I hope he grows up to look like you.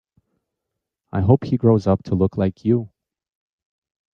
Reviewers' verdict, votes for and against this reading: accepted, 4, 0